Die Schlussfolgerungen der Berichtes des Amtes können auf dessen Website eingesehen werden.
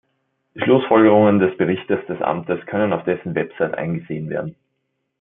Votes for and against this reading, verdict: 0, 2, rejected